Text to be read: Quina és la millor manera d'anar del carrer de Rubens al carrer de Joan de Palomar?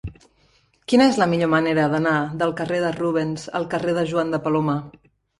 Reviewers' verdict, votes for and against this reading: accepted, 4, 0